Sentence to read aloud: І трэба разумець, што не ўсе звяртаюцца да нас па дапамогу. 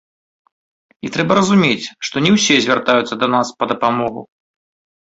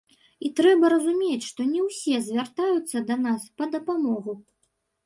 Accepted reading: first